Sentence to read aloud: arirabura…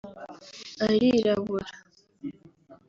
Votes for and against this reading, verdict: 2, 0, accepted